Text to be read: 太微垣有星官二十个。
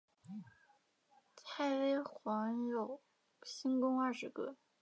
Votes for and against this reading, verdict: 6, 5, accepted